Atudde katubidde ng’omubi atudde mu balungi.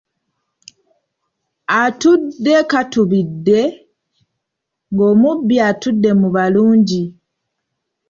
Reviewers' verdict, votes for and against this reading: rejected, 0, 2